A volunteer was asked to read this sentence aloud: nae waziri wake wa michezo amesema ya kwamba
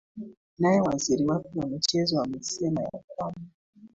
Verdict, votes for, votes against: accepted, 2, 1